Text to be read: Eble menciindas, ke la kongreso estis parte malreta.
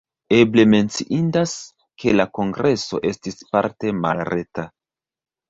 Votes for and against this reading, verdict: 0, 2, rejected